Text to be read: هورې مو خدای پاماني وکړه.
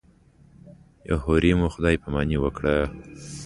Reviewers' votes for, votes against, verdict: 2, 0, accepted